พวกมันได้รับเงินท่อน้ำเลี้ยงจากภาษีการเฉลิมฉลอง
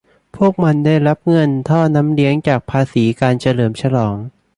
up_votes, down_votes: 2, 0